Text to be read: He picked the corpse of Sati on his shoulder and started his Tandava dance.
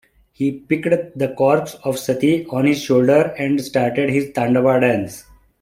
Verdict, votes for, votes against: rejected, 0, 2